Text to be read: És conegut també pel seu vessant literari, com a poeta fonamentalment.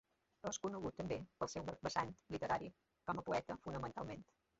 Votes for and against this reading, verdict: 1, 2, rejected